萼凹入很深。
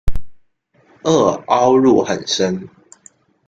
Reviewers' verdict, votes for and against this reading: accepted, 2, 0